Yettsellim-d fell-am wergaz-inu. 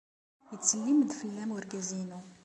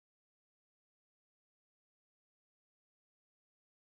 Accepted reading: first